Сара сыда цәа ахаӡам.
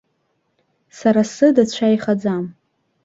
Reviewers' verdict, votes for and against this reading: rejected, 0, 2